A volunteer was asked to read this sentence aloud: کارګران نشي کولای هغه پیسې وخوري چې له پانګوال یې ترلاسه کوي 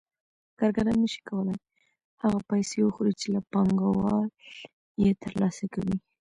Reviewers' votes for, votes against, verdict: 2, 1, accepted